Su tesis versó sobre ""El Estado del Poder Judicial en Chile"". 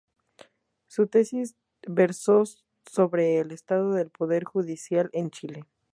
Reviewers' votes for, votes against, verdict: 2, 0, accepted